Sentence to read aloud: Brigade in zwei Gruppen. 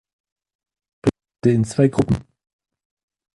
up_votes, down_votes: 0, 2